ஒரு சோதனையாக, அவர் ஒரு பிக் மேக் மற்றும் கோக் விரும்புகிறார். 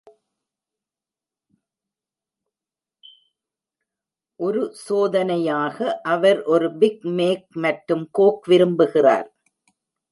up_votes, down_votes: 0, 2